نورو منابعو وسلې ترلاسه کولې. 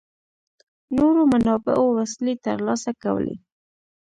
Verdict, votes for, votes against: rejected, 0, 2